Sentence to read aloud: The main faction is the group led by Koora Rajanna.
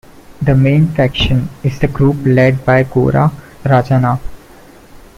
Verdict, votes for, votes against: accepted, 2, 0